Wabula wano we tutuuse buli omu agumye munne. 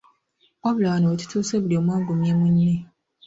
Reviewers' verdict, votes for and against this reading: rejected, 1, 2